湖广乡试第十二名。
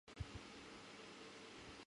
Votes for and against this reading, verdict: 0, 2, rejected